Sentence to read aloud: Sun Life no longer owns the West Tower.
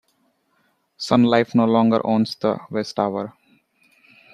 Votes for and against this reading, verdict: 2, 0, accepted